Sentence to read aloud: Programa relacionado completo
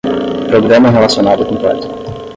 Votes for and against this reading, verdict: 0, 5, rejected